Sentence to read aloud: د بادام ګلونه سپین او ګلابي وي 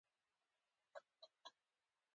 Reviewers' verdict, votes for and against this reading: accepted, 2, 0